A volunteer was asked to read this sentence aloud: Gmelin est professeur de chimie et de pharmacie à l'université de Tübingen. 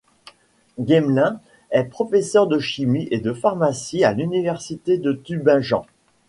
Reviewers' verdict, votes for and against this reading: accepted, 2, 0